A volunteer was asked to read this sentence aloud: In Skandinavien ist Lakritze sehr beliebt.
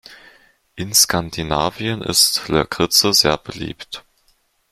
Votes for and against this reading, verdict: 2, 0, accepted